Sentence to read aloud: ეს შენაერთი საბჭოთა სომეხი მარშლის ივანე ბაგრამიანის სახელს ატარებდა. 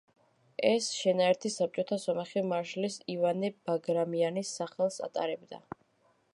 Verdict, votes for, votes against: accepted, 2, 0